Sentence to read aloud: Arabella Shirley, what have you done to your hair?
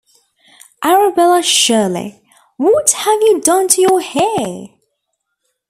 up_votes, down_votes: 2, 0